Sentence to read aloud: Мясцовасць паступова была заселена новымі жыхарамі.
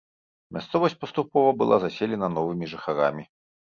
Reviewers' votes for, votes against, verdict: 2, 0, accepted